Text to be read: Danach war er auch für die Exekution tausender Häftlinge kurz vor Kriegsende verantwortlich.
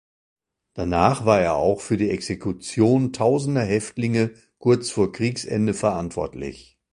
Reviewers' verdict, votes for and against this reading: accepted, 2, 0